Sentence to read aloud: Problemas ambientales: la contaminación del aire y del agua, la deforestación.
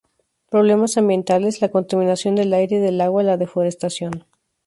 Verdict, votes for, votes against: accepted, 2, 0